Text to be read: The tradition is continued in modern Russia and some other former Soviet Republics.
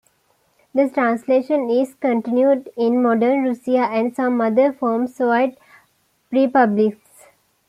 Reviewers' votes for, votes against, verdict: 2, 1, accepted